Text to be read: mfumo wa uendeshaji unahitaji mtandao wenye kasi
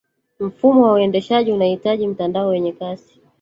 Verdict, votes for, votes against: rejected, 1, 2